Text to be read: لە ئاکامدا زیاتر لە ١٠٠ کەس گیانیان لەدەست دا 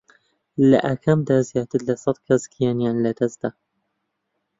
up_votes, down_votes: 0, 2